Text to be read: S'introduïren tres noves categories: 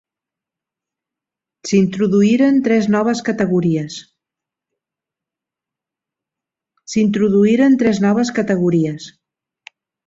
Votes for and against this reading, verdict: 1, 2, rejected